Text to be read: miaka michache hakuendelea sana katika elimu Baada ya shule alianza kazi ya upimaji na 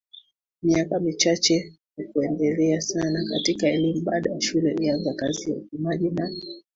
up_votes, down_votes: 2, 1